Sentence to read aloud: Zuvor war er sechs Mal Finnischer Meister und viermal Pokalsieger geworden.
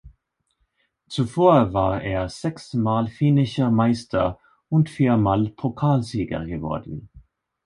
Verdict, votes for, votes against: accepted, 2, 0